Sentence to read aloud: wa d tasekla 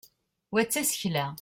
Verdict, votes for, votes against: accepted, 2, 0